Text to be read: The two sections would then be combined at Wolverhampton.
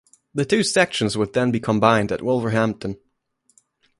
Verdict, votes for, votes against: accepted, 2, 0